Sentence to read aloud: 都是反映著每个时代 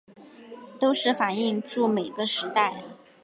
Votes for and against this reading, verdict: 2, 0, accepted